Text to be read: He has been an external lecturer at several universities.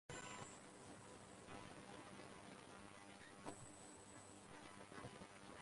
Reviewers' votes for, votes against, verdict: 0, 2, rejected